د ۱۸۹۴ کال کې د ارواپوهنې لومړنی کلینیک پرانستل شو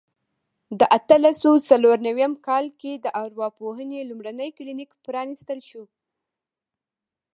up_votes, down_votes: 0, 2